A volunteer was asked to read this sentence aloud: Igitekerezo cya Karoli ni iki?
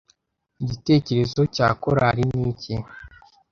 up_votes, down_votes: 1, 2